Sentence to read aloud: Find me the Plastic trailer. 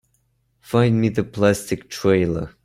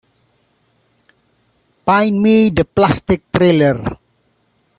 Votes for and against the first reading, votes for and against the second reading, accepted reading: 2, 0, 0, 2, first